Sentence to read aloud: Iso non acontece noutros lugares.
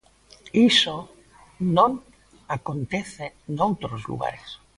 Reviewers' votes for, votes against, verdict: 2, 0, accepted